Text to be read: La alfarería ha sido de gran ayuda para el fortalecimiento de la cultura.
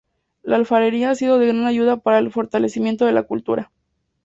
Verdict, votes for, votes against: accepted, 2, 0